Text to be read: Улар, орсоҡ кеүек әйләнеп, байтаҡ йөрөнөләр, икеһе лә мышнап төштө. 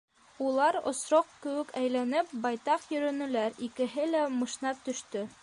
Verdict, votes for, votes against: rejected, 1, 3